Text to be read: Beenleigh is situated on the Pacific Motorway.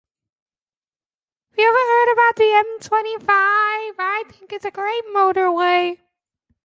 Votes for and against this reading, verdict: 0, 2, rejected